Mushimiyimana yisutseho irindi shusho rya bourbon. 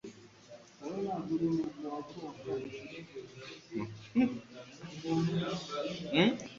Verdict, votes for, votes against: rejected, 1, 2